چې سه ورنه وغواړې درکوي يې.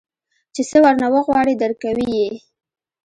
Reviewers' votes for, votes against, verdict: 2, 0, accepted